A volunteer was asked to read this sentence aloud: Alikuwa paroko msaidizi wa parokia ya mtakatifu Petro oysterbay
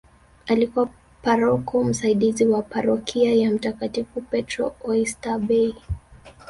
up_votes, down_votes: 0, 2